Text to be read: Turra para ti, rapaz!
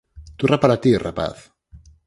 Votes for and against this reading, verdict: 2, 4, rejected